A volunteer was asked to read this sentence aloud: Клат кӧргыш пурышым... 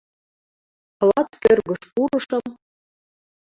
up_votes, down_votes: 1, 2